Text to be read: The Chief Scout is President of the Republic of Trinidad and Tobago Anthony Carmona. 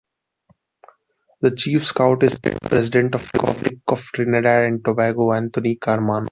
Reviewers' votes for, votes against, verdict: 1, 2, rejected